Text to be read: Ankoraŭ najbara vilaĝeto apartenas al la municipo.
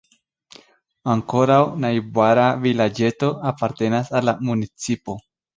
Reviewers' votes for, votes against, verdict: 1, 2, rejected